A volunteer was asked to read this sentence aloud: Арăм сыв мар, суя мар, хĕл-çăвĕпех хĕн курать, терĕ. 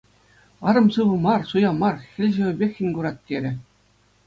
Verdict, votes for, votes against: accepted, 2, 0